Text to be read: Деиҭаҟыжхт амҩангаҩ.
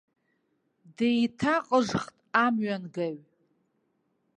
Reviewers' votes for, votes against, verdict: 2, 0, accepted